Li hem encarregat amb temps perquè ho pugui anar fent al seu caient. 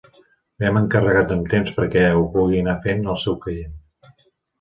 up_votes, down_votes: 0, 2